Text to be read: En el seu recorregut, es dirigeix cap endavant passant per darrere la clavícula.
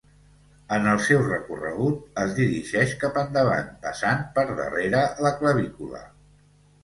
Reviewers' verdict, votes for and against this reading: accepted, 2, 0